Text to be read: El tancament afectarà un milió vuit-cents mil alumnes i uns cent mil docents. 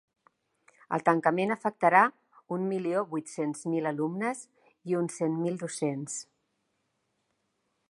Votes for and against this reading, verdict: 2, 0, accepted